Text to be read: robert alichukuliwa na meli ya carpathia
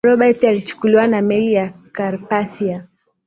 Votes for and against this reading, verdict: 2, 0, accepted